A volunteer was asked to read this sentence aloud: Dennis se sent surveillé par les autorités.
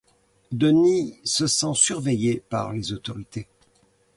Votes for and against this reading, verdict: 2, 0, accepted